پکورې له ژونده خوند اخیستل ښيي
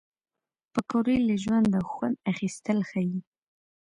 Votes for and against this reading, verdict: 1, 2, rejected